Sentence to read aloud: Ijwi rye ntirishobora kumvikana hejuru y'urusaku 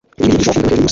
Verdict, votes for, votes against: rejected, 1, 2